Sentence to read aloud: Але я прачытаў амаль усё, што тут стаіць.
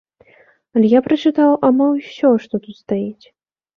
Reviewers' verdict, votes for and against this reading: rejected, 0, 2